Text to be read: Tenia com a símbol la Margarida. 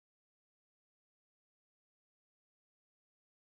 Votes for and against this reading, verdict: 0, 2, rejected